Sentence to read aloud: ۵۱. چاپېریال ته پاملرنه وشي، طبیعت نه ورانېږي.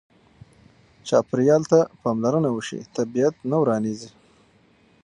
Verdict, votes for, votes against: rejected, 0, 2